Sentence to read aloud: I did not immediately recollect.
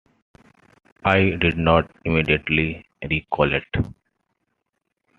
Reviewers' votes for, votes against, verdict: 2, 0, accepted